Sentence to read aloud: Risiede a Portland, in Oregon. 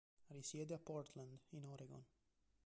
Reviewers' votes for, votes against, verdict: 2, 0, accepted